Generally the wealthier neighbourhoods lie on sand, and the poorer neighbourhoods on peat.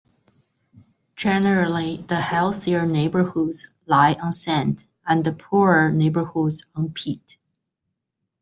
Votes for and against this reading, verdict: 0, 2, rejected